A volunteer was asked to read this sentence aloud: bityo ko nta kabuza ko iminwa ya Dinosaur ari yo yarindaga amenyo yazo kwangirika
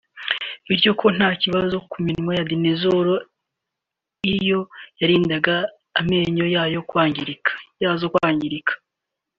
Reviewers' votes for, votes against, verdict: 1, 2, rejected